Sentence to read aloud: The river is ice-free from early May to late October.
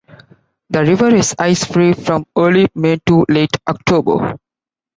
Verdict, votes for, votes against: accepted, 2, 0